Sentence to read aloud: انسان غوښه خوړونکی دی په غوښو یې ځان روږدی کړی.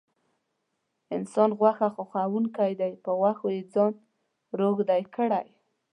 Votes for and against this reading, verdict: 0, 2, rejected